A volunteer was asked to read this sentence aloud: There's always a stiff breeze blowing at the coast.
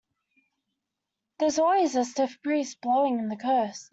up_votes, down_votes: 0, 2